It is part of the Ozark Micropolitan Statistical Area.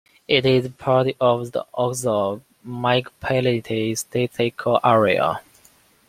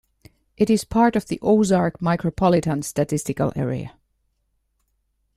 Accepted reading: second